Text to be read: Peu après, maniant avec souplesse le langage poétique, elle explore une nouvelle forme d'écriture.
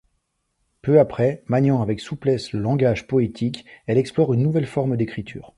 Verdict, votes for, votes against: accepted, 2, 0